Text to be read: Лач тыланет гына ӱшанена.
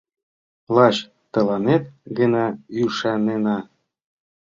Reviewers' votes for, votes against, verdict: 2, 1, accepted